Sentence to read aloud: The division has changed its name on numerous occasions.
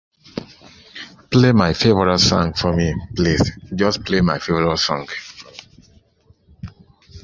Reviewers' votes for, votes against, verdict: 0, 2, rejected